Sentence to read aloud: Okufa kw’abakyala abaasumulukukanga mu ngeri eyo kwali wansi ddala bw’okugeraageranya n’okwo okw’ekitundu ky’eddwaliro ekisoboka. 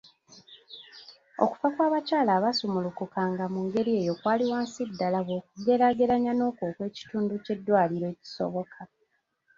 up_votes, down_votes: 2, 0